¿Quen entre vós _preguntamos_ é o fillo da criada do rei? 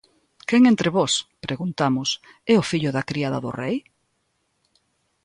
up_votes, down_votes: 3, 0